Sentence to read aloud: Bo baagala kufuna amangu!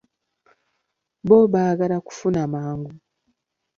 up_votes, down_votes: 1, 2